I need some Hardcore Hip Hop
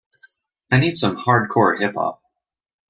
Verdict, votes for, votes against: accepted, 2, 0